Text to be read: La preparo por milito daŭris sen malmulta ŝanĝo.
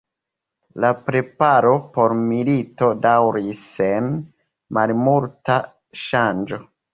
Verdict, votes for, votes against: accepted, 3, 2